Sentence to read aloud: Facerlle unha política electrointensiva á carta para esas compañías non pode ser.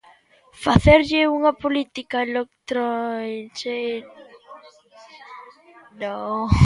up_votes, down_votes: 0, 2